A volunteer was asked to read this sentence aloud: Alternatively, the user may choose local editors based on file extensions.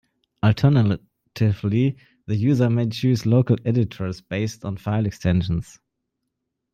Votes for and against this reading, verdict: 1, 2, rejected